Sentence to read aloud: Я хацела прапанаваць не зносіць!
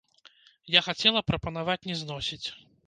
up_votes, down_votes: 0, 2